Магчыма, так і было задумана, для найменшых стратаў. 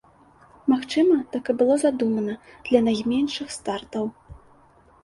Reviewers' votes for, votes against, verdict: 0, 2, rejected